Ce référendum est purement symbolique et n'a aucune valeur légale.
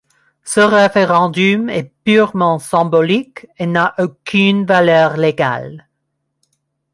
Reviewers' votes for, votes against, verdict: 1, 2, rejected